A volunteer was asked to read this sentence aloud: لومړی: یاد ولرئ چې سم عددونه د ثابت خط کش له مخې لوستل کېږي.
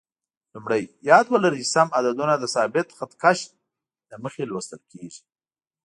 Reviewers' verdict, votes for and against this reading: accepted, 2, 0